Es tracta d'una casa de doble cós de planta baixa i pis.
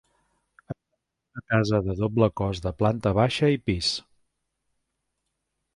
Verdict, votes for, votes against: rejected, 0, 2